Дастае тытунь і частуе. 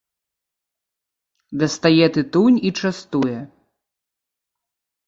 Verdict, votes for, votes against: accepted, 2, 0